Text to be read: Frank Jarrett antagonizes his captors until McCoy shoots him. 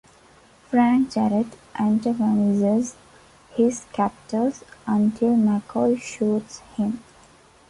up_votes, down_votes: 1, 2